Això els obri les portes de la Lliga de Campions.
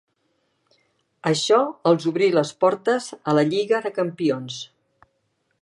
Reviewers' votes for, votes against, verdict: 1, 2, rejected